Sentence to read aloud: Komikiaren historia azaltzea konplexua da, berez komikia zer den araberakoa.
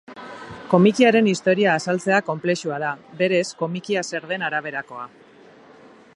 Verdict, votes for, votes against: accepted, 2, 0